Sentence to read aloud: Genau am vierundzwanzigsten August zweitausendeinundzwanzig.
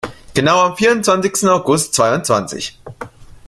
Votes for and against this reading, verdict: 0, 2, rejected